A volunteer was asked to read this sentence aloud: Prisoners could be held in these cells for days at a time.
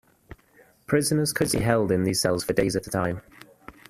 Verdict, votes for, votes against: rejected, 0, 2